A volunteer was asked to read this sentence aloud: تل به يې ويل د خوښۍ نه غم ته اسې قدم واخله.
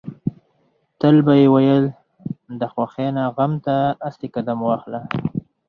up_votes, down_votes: 4, 2